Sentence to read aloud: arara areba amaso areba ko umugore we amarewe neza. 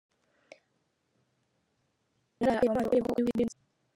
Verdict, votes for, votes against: rejected, 0, 2